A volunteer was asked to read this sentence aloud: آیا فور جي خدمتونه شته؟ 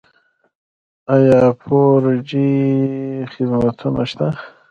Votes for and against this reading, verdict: 1, 2, rejected